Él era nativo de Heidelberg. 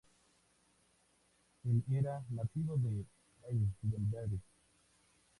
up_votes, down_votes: 0, 2